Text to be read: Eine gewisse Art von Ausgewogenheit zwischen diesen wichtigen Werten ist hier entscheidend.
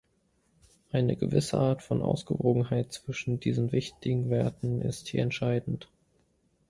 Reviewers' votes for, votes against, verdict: 2, 0, accepted